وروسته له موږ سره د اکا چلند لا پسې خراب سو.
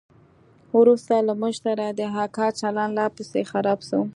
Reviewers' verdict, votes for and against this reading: accepted, 2, 0